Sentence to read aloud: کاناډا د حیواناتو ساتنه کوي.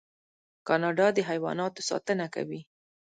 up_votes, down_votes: 1, 2